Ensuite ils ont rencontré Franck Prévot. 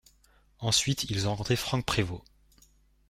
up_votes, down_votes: 0, 2